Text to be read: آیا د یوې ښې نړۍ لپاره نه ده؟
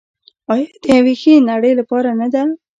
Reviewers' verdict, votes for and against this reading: rejected, 1, 2